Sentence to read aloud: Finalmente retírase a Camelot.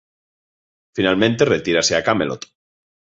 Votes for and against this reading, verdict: 1, 2, rejected